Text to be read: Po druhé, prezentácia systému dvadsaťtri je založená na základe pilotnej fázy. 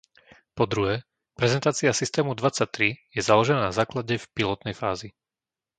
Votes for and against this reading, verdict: 0, 2, rejected